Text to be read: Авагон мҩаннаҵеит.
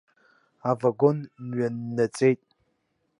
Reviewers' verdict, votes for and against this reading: accepted, 2, 1